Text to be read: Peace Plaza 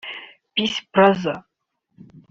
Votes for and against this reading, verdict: 1, 2, rejected